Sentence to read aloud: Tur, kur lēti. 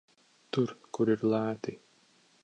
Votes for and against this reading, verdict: 0, 2, rejected